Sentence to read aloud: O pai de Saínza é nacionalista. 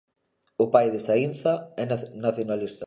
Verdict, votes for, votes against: rejected, 0, 2